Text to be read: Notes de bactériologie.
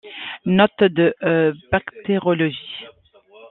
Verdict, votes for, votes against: rejected, 0, 2